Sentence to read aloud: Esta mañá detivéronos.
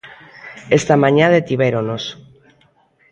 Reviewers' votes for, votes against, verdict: 1, 2, rejected